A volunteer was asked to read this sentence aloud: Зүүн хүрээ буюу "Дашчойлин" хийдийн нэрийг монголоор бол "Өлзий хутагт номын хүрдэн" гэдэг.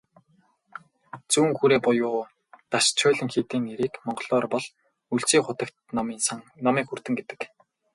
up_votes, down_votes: 2, 4